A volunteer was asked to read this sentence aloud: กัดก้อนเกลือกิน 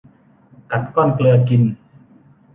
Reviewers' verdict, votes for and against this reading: accepted, 2, 0